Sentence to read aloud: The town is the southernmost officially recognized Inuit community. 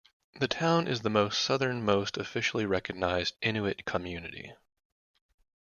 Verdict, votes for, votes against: rejected, 1, 2